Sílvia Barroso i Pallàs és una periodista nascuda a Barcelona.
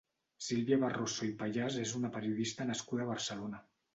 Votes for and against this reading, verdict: 1, 2, rejected